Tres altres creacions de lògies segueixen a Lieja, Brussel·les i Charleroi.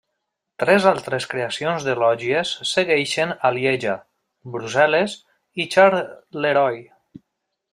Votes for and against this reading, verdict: 0, 2, rejected